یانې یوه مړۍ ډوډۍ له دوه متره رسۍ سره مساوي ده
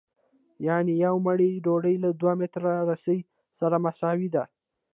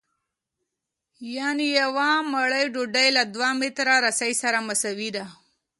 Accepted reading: second